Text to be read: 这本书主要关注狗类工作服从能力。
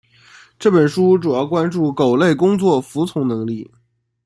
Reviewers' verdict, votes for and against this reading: accepted, 2, 1